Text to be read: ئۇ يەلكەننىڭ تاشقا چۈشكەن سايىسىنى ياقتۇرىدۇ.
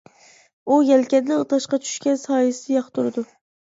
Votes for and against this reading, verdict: 1, 2, rejected